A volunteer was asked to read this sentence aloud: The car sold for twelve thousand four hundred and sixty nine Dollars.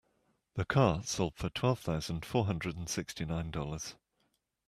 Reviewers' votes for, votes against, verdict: 2, 0, accepted